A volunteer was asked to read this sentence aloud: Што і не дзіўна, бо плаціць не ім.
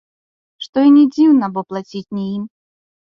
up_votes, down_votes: 2, 0